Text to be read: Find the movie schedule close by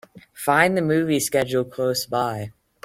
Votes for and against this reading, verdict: 3, 0, accepted